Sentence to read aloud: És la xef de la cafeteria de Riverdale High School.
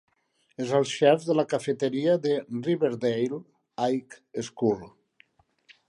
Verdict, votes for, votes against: rejected, 1, 2